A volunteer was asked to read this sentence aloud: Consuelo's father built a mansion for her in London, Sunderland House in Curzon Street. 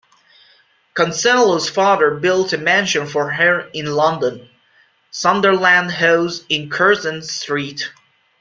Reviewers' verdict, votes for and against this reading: accepted, 2, 1